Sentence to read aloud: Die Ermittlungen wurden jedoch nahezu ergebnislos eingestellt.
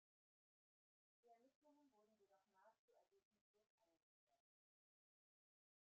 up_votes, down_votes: 0, 2